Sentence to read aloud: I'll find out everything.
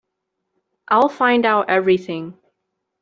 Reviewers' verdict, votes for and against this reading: accepted, 2, 0